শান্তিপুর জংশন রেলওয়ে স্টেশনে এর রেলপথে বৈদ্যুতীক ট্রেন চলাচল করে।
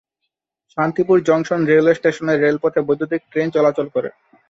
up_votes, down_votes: 2, 0